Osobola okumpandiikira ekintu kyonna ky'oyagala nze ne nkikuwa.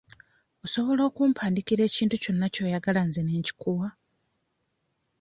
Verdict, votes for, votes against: accepted, 2, 0